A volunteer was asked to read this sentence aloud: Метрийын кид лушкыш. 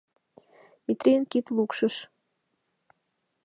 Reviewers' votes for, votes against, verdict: 0, 2, rejected